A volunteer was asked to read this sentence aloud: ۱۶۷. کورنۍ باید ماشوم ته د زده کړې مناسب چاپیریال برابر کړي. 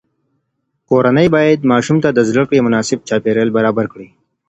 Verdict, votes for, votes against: rejected, 0, 2